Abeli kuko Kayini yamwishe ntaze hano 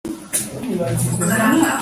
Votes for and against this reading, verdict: 0, 2, rejected